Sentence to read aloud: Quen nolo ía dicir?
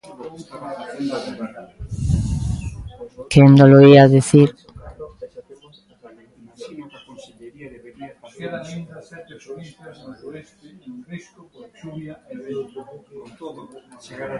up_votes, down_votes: 0, 2